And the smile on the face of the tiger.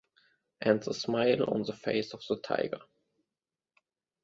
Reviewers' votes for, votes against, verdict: 2, 1, accepted